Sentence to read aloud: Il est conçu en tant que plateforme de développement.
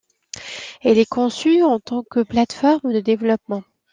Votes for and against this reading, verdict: 2, 1, accepted